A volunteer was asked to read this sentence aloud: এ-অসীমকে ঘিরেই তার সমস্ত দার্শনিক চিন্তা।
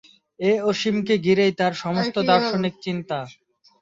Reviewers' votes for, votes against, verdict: 4, 5, rejected